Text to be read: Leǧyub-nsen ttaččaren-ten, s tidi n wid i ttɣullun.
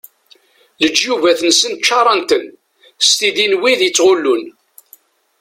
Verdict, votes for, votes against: rejected, 1, 2